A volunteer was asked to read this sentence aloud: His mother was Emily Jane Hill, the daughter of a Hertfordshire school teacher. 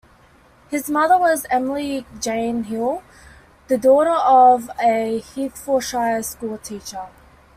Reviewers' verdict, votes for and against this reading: accepted, 2, 1